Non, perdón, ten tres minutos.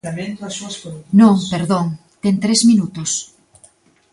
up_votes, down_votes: 0, 2